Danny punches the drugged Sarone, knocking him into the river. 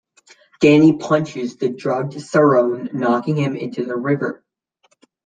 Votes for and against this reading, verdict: 2, 0, accepted